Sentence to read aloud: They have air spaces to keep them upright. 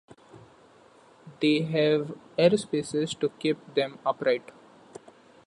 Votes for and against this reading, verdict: 2, 0, accepted